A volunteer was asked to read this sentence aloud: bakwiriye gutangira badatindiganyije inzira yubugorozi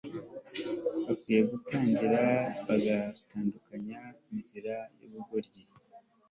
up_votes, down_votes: 1, 2